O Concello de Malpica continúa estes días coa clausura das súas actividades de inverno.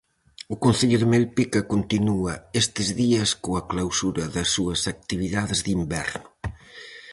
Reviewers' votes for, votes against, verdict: 0, 4, rejected